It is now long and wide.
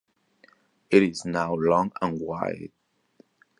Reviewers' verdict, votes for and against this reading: accepted, 2, 0